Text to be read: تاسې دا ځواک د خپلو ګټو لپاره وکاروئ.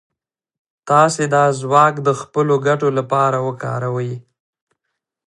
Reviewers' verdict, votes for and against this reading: accepted, 2, 0